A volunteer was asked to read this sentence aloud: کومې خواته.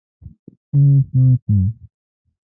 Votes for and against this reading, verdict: 0, 2, rejected